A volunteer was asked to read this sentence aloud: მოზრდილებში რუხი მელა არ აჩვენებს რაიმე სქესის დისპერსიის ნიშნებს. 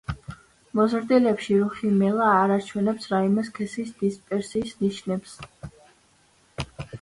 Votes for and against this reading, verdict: 2, 0, accepted